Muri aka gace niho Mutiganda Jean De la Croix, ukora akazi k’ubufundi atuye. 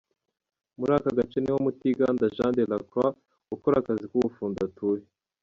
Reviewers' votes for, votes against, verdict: 0, 2, rejected